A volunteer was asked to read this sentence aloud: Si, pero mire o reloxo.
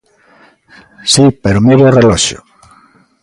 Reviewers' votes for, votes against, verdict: 2, 0, accepted